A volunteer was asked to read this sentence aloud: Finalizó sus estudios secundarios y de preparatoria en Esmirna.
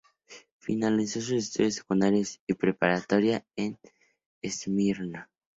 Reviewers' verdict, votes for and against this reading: accepted, 4, 2